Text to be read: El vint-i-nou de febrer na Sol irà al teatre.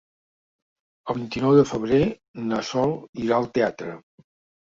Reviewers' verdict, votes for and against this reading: accepted, 3, 0